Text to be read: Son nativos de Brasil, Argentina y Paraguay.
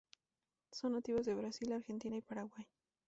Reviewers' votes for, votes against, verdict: 0, 2, rejected